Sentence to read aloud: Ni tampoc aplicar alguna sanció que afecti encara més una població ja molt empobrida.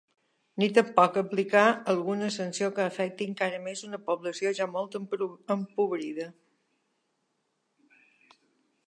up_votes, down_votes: 0, 2